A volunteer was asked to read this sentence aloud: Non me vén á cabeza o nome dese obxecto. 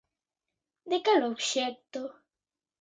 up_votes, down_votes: 0, 2